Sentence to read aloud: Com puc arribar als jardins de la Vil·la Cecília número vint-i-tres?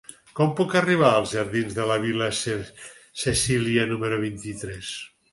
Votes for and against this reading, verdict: 0, 4, rejected